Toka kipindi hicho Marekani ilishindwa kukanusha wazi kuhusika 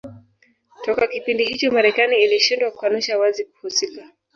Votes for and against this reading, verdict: 2, 0, accepted